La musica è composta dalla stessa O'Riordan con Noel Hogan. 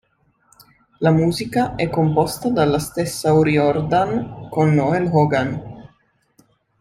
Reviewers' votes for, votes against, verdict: 2, 0, accepted